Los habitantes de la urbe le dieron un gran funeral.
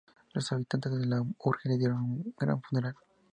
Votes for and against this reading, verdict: 0, 2, rejected